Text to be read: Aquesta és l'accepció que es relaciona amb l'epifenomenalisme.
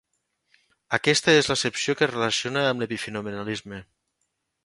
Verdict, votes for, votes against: accepted, 4, 1